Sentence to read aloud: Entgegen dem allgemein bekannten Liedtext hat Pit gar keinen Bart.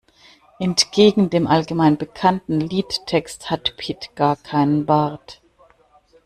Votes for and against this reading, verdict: 2, 0, accepted